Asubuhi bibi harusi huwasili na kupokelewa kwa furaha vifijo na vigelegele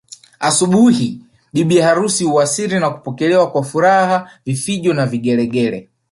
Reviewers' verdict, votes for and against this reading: rejected, 0, 2